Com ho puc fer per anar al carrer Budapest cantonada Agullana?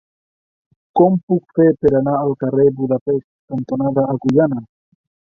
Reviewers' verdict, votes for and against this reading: rejected, 0, 2